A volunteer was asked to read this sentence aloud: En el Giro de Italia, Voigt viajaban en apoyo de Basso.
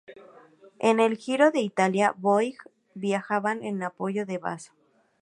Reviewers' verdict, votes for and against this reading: accepted, 2, 0